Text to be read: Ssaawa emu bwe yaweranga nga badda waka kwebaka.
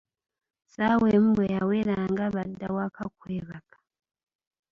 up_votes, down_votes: 1, 2